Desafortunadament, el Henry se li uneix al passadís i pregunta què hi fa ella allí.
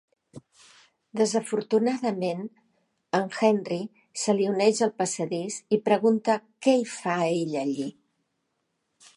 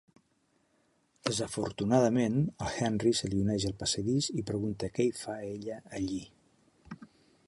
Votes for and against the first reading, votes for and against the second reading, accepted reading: 2, 1, 1, 2, first